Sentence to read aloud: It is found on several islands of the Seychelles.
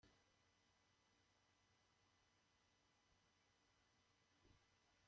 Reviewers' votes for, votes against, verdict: 0, 2, rejected